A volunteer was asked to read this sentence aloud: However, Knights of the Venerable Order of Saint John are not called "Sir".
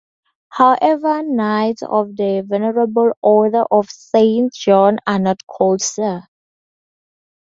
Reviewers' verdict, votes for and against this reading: accepted, 4, 0